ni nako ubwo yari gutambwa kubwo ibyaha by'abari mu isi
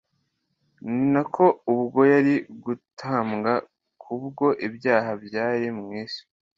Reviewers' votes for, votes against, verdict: 2, 1, accepted